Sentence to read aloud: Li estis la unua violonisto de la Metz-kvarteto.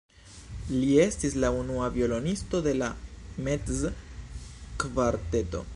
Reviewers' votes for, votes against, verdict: 3, 0, accepted